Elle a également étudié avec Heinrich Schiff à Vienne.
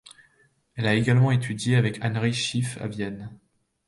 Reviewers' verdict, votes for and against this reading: accepted, 2, 0